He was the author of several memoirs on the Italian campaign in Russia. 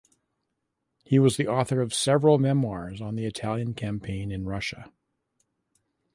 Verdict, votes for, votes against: accepted, 2, 0